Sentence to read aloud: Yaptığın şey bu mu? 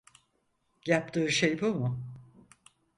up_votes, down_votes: 0, 4